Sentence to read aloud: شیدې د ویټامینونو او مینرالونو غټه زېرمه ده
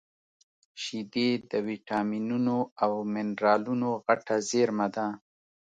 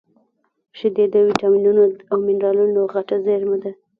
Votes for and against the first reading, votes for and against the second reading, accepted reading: 2, 0, 0, 2, first